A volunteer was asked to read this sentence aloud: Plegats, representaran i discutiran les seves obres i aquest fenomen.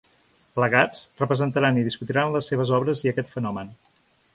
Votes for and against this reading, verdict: 2, 0, accepted